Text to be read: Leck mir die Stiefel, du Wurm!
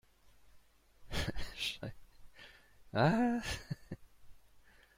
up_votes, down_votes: 0, 2